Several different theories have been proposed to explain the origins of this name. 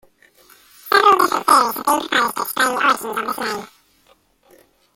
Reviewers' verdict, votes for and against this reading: rejected, 0, 2